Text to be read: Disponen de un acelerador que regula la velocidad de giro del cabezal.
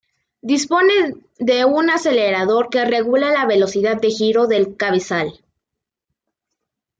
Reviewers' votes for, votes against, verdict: 2, 0, accepted